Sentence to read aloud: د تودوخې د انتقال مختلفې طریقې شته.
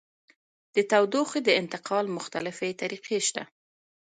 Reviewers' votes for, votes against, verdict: 2, 1, accepted